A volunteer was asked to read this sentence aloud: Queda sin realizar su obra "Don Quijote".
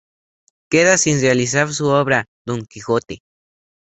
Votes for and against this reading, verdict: 2, 0, accepted